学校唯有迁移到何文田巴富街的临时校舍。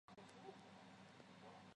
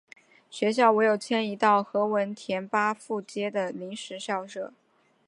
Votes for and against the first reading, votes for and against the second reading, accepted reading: 0, 2, 2, 1, second